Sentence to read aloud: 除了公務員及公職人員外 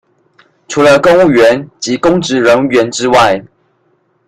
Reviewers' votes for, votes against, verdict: 0, 2, rejected